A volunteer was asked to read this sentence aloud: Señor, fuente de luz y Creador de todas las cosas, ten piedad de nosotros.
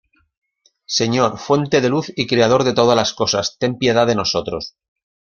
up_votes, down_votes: 2, 0